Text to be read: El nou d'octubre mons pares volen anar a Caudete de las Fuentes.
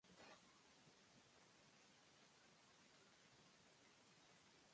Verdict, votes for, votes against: rejected, 0, 2